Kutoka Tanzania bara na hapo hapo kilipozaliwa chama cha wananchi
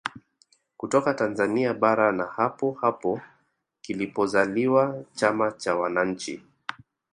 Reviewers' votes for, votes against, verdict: 3, 1, accepted